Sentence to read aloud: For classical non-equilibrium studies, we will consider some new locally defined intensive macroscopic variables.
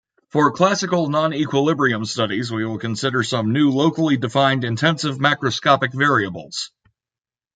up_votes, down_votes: 2, 1